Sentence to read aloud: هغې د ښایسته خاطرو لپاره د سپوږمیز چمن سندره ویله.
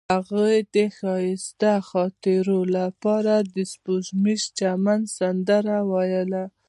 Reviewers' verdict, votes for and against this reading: accepted, 2, 0